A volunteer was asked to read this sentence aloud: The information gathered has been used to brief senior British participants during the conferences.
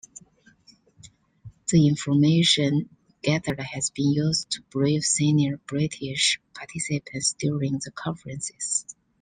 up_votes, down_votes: 2, 0